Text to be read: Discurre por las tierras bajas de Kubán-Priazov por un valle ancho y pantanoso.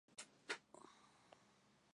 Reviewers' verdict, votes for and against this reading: rejected, 0, 2